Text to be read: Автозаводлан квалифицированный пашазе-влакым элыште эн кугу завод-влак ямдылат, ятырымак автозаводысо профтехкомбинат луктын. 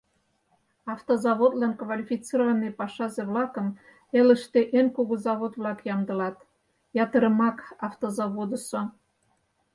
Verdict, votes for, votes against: rejected, 0, 4